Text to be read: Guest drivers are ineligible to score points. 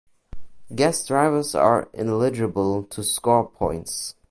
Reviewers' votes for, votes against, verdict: 1, 2, rejected